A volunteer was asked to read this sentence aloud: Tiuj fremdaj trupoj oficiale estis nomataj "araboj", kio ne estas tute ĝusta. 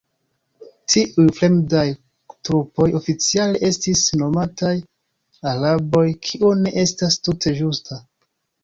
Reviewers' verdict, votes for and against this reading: rejected, 1, 2